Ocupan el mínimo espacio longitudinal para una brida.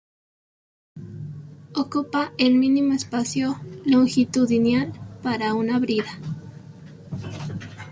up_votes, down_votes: 0, 2